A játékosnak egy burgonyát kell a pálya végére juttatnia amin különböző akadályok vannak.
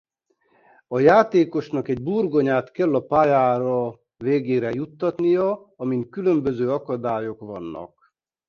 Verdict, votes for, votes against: rejected, 0, 3